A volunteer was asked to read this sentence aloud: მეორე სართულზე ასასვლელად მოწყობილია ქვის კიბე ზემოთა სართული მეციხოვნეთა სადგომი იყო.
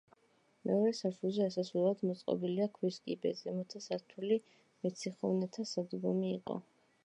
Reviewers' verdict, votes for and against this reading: rejected, 0, 2